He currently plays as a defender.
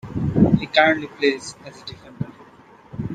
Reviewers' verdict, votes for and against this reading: accepted, 2, 0